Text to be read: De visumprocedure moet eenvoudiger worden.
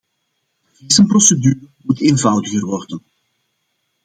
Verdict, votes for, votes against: rejected, 0, 2